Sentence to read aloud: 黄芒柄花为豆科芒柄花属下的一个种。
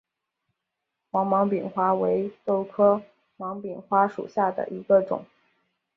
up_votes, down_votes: 2, 0